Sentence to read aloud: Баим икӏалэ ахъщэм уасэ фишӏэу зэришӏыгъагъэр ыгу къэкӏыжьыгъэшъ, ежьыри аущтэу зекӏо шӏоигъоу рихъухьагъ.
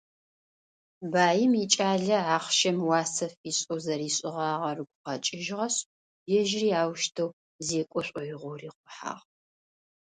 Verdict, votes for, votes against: accepted, 2, 0